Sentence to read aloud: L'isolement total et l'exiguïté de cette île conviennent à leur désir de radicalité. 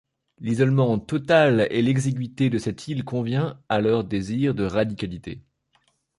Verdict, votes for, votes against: rejected, 1, 2